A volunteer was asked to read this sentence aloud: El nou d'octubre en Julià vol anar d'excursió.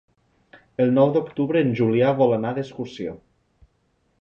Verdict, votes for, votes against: accepted, 5, 0